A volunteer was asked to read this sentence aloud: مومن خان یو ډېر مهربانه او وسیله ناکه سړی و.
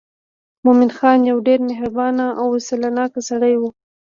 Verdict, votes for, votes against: accepted, 2, 0